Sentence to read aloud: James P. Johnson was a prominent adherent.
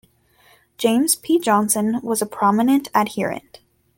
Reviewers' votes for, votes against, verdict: 2, 0, accepted